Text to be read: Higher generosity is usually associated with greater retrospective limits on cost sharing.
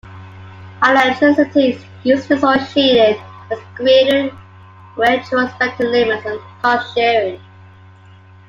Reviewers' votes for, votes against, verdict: 0, 2, rejected